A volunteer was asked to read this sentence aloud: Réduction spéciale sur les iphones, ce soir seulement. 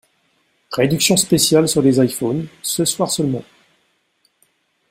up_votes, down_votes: 2, 0